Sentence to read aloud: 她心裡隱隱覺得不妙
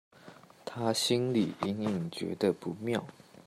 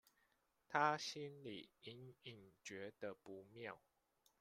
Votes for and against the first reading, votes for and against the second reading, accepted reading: 2, 0, 1, 2, first